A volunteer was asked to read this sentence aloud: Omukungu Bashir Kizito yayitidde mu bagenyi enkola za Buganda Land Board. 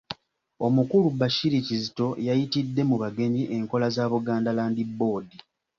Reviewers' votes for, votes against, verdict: 1, 2, rejected